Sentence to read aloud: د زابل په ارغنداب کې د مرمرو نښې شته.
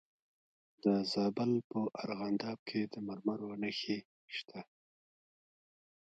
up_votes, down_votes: 0, 2